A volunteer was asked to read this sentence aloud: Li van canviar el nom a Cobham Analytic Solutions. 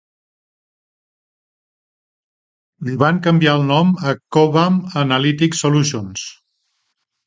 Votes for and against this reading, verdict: 2, 0, accepted